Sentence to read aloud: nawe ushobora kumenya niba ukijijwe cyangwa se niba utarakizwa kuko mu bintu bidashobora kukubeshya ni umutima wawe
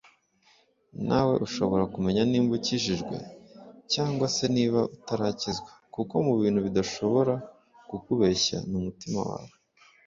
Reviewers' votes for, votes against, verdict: 2, 0, accepted